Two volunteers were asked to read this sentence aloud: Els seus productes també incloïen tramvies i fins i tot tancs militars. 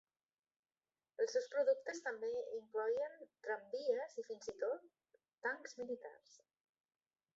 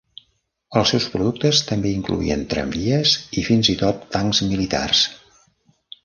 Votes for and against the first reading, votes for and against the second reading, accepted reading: 1, 2, 2, 0, second